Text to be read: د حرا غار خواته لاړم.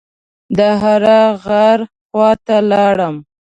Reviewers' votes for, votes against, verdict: 1, 2, rejected